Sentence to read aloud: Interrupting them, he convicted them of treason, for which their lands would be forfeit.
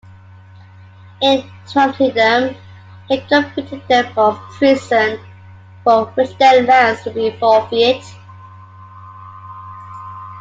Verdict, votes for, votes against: rejected, 0, 2